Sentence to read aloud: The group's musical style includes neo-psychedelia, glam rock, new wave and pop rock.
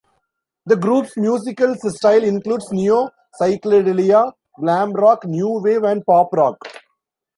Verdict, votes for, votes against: rejected, 0, 2